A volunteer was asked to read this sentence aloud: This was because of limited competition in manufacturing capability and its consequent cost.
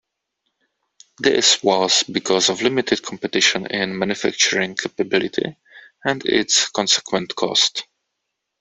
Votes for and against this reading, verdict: 2, 0, accepted